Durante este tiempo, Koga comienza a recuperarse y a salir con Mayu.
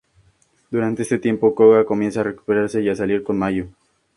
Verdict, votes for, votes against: accepted, 2, 0